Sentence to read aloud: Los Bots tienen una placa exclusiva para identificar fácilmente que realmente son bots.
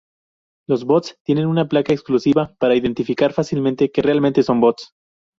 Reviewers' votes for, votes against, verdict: 2, 0, accepted